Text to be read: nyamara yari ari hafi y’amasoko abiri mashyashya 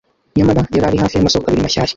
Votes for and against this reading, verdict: 1, 2, rejected